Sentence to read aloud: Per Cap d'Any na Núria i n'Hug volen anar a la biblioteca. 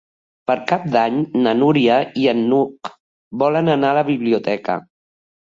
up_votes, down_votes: 0, 2